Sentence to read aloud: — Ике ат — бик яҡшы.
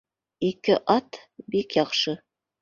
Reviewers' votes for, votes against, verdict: 2, 0, accepted